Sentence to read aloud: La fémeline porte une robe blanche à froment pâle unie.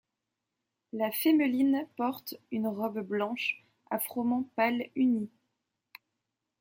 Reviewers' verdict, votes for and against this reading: accepted, 2, 0